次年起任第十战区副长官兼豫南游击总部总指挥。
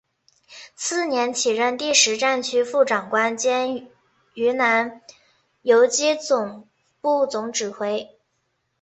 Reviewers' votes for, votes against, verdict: 2, 0, accepted